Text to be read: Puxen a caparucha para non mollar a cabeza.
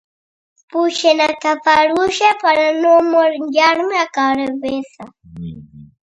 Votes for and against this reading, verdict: 0, 2, rejected